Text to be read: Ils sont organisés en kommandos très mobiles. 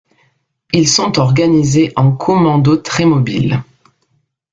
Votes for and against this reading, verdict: 1, 2, rejected